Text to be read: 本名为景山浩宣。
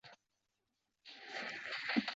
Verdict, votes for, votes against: rejected, 0, 2